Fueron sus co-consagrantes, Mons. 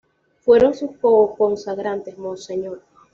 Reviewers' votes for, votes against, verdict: 2, 0, accepted